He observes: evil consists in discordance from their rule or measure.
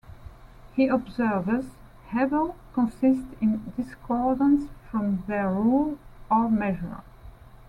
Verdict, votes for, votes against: rejected, 1, 2